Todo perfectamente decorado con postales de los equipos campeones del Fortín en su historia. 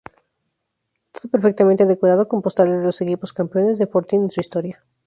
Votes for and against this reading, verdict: 0, 2, rejected